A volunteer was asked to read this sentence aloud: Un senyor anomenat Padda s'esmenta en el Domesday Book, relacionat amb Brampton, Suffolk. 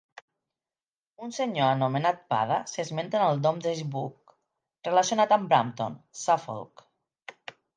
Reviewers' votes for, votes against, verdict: 4, 2, accepted